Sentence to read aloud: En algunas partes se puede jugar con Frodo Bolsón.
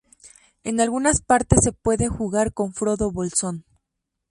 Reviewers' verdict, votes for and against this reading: rejected, 0, 2